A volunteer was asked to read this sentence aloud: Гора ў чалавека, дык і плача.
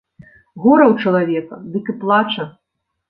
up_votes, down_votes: 2, 0